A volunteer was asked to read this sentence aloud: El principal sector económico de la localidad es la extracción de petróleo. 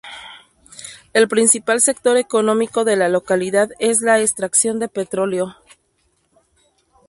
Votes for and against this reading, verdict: 2, 0, accepted